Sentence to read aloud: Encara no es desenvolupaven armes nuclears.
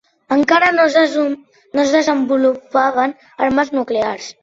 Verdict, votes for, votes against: rejected, 0, 2